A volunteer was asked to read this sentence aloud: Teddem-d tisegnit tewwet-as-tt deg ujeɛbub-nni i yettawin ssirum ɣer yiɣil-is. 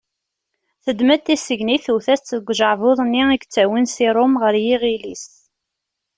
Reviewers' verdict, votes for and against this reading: rejected, 0, 2